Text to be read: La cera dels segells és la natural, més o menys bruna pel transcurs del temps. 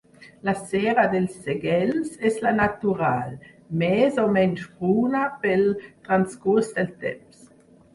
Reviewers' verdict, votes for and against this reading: rejected, 2, 4